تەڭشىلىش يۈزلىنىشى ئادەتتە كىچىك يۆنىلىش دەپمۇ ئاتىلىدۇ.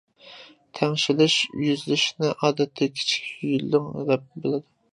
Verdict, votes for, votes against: rejected, 0, 2